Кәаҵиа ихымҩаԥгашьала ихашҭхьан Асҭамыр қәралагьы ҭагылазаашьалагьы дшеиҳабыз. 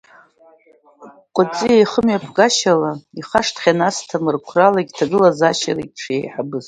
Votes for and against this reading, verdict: 2, 1, accepted